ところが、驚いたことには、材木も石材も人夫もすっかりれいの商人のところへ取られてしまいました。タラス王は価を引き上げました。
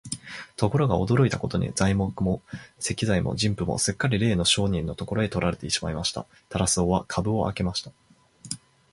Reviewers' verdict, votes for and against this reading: accepted, 9, 3